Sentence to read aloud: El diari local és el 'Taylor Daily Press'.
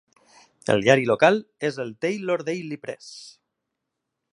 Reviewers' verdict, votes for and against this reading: accepted, 2, 0